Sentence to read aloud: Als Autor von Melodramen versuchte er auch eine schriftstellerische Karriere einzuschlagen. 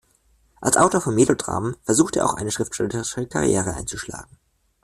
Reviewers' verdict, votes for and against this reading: rejected, 0, 2